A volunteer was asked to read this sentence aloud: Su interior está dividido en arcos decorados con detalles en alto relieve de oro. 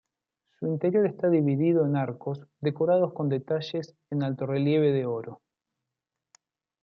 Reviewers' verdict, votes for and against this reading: accepted, 2, 0